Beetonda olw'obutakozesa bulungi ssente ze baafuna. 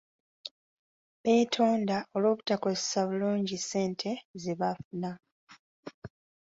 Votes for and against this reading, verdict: 2, 0, accepted